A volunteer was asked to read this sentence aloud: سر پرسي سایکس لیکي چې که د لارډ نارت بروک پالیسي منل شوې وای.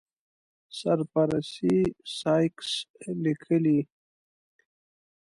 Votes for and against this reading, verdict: 0, 2, rejected